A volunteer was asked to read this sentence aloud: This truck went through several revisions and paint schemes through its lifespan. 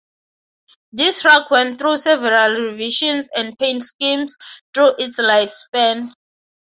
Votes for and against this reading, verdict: 3, 0, accepted